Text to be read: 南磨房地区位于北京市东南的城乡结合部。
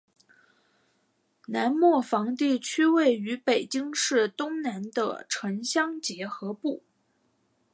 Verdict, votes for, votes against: accepted, 4, 1